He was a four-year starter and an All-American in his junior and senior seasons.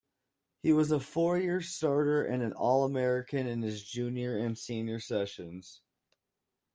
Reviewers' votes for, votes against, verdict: 0, 2, rejected